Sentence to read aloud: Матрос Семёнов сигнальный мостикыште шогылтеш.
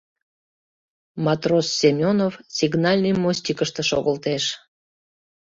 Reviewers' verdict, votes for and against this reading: accepted, 2, 0